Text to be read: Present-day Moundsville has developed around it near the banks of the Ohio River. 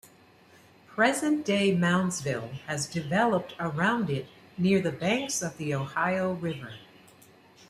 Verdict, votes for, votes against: accepted, 2, 0